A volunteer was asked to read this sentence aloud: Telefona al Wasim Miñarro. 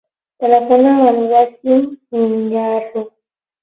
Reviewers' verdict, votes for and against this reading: accepted, 18, 6